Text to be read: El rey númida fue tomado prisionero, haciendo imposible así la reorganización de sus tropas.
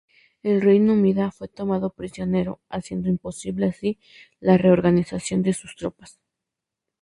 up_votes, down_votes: 4, 0